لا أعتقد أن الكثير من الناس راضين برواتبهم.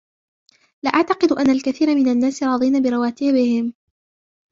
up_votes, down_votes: 1, 2